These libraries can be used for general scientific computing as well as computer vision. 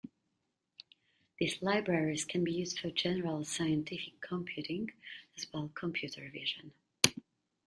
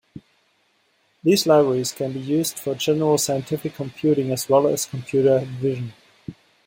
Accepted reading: second